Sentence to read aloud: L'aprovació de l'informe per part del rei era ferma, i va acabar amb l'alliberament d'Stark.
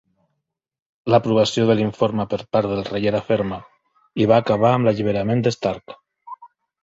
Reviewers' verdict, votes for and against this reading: accepted, 3, 0